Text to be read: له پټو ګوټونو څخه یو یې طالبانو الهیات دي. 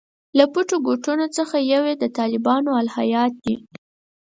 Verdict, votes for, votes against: accepted, 4, 2